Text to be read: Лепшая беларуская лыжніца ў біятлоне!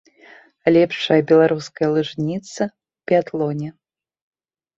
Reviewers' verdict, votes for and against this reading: rejected, 1, 2